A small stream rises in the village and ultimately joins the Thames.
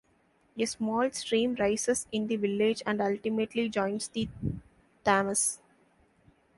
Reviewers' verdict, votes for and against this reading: rejected, 0, 2